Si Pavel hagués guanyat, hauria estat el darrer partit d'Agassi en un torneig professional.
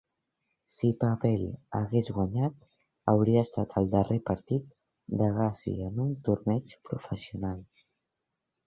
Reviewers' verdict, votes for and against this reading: rejected, 1, 2